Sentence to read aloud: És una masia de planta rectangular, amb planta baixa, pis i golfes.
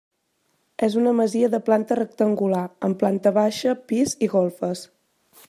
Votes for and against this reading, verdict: 3, 0, accepted